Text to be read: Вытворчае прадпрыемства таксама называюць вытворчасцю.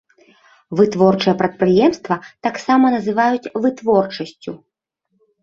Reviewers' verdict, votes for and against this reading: accepted, 3, 0